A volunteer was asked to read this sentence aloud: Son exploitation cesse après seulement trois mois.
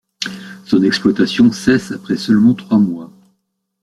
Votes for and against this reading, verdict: 2, 0, accepted